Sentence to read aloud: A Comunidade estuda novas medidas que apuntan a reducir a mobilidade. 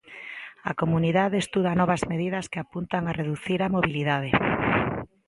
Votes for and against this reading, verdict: 2, 0, accepted